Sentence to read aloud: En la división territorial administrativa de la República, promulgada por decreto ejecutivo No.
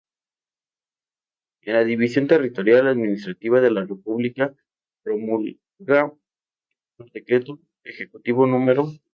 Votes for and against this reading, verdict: 0, 4, rejected